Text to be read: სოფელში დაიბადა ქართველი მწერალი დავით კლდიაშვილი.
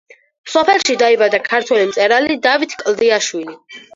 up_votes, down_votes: 4, 0